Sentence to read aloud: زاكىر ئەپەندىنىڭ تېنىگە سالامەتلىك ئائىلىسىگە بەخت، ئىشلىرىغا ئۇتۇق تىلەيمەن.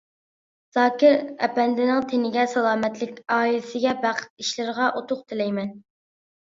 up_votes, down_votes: 2, 1